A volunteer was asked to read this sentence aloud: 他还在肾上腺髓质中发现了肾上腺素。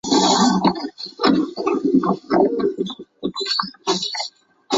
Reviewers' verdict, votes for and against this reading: rejected, 0, 2